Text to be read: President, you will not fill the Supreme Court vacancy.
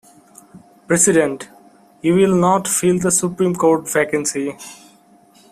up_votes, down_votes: 1, 2